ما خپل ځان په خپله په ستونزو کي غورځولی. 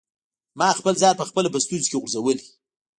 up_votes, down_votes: 2, 0